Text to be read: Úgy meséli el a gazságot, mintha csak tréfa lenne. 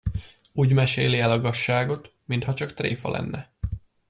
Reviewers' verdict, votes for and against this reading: accepted, 2, 0